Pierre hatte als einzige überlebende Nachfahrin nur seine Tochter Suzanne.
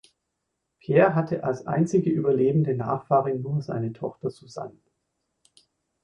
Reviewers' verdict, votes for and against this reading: rejected, 1, 2